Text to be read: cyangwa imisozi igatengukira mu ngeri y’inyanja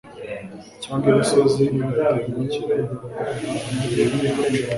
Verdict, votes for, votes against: rejected, 0, 2